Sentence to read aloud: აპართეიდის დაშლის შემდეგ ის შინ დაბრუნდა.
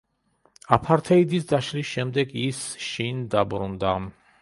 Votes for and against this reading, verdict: 0, 2, rejected